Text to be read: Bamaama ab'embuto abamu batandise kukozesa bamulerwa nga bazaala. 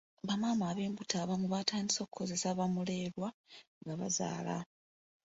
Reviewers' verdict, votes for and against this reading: accepted, 2, 0